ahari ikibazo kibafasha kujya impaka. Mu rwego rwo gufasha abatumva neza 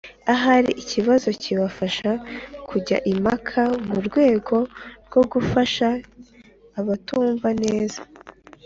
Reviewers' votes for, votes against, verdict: 3, 0, accepted